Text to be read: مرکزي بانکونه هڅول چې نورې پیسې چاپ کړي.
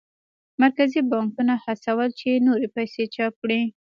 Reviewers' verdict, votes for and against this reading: rejected, 1, 2